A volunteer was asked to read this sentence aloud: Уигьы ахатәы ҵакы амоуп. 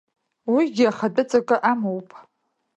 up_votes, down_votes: 2, 0